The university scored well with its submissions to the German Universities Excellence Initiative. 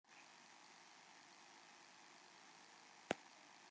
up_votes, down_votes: 0, 2